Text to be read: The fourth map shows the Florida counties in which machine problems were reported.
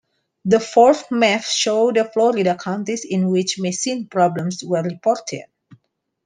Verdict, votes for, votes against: accepted, 2, 1